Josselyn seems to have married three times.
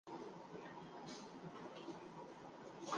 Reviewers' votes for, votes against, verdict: 0, 2, rejected